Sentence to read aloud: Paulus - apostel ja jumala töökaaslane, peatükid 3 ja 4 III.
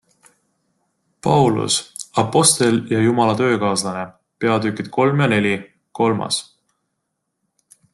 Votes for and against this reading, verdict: 0, 2, rejected